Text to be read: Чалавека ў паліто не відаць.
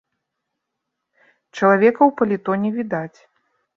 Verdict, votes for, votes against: accepted, 2, 0